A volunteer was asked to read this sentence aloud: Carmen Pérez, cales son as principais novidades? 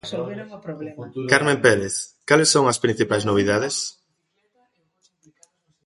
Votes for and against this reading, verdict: 0, 2, rejected